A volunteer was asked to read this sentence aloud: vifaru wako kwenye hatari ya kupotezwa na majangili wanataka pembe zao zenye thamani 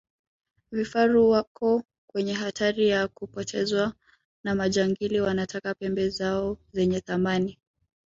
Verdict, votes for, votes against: rejected, 0, 2